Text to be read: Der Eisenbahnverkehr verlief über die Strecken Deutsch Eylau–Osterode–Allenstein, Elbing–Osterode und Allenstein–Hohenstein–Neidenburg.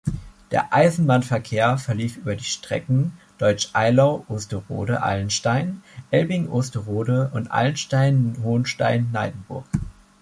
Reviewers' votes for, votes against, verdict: 2, 0, accepted